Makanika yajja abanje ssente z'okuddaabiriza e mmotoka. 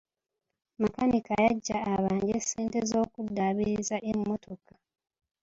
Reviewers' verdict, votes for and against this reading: accepted, 2, 1